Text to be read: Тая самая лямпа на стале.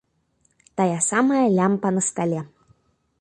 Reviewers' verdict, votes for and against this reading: accepted, 2, 0